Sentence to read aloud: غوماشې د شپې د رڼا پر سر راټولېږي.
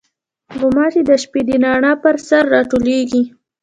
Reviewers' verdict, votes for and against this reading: rejected, 1, 2